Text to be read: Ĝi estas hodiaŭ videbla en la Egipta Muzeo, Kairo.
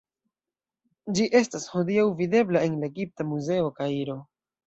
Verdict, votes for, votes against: accepted, 2, 0